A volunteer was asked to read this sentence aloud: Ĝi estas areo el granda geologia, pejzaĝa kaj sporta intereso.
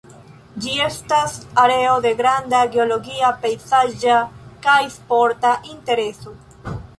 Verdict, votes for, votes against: rejected, 0, 2